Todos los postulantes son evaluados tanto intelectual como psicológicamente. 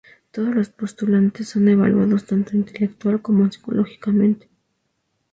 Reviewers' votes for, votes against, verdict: 2, 2, rejected